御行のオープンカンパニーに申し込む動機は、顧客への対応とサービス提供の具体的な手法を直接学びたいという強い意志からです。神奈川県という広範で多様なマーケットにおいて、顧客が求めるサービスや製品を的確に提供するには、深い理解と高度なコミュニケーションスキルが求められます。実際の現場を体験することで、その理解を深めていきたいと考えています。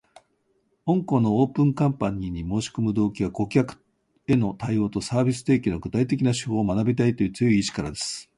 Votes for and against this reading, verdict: 1, 3, rejected